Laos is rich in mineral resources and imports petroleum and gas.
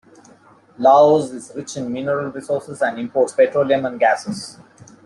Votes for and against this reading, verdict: 1, 2, rejected